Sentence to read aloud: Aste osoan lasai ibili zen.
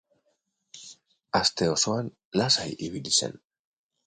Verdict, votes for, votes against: accepted, 4, 0